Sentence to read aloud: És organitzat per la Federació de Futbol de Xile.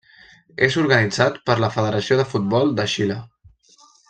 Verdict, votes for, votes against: accepted, 3, 0